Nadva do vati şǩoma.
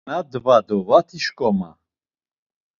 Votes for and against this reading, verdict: 2, 0, accepted